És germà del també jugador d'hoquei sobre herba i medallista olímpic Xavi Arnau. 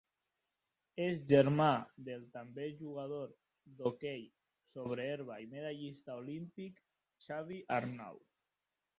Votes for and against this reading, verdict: 2, 0, accepted